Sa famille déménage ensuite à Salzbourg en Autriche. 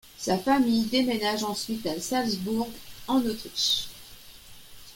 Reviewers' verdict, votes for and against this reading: accepted, 2, 0